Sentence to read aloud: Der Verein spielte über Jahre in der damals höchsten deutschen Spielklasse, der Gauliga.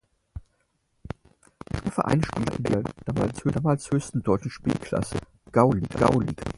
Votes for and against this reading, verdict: 0, 4, rejected